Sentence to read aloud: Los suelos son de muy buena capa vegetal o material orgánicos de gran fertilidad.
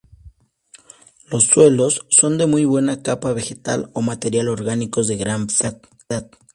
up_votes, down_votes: 0, 2